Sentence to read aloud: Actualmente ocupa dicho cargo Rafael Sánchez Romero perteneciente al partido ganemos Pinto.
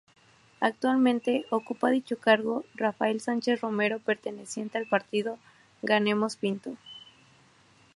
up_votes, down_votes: 4, 0